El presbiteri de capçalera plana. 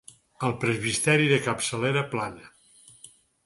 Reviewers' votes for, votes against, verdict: 0, 4, rejected